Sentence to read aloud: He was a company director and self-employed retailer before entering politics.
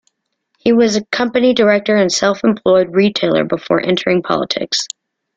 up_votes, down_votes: 2, 0